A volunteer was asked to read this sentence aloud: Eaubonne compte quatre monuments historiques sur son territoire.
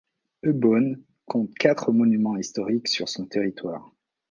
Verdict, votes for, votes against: rejected, 0, 2